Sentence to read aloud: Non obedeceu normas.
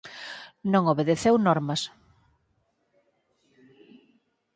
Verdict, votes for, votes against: accepted, 4, 0